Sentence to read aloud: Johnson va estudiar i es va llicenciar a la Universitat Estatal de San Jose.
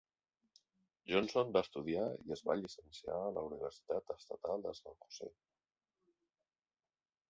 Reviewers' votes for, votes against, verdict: 0, 2, rejected